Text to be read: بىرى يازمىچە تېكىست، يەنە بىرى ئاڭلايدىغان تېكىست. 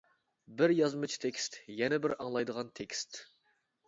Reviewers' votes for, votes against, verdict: 1, 2, rejected